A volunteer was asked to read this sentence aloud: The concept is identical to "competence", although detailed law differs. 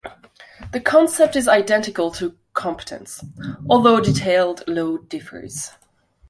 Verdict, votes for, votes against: rejected, 0, 2